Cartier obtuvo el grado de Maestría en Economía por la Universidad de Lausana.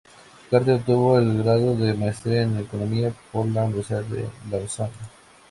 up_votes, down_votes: 0, 2